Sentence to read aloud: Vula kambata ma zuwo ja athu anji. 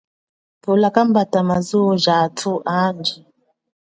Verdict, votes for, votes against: accepted, 2, 0